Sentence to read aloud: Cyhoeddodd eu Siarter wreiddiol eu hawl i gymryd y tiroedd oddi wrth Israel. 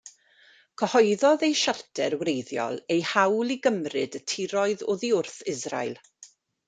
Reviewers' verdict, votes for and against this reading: accepted, 2, 0